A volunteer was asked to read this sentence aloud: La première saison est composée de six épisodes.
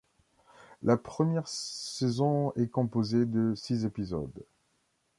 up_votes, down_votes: 2, 0